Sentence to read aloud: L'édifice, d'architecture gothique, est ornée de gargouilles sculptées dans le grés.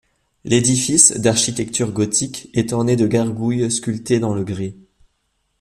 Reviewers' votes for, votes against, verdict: 2, 0, accepted